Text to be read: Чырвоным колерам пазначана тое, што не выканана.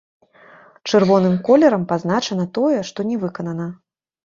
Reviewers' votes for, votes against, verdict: 2, 1, accepted